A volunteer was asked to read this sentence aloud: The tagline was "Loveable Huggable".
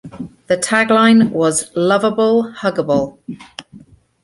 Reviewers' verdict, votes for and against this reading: accepted, 2, 0